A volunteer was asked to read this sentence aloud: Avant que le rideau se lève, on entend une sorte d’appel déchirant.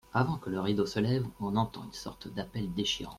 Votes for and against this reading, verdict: 1, 2, rejected